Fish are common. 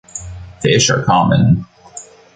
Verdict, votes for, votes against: accepted, 2, 0